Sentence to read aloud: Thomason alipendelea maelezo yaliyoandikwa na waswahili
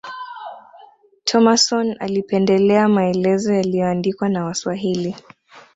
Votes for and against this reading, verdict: 2, 0, accepted